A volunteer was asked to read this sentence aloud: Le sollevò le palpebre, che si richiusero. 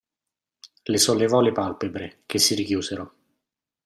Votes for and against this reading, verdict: 2, 0, accepted